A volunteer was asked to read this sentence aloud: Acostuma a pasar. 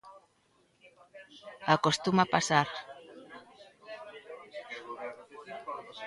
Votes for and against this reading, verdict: 0, 2, rejected